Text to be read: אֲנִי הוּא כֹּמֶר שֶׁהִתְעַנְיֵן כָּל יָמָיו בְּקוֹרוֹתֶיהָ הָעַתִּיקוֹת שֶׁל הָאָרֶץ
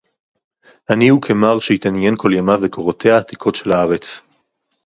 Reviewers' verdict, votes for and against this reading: rejected, 0, 4